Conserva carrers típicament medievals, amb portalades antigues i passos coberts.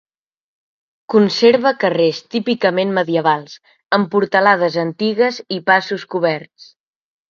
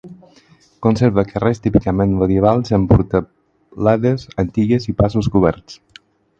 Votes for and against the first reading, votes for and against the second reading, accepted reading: 4, 0, 2, 4, first